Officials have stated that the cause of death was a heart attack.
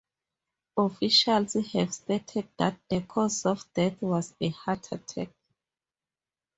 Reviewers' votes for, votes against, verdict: 2, 0, accepted